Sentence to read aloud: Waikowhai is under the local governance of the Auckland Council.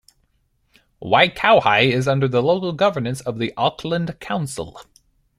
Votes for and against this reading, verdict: 2, 0, accepted